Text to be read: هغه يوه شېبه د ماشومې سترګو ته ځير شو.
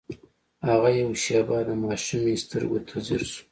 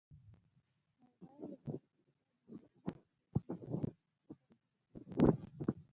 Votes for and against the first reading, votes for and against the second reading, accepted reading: 2, 0, 0, 2, first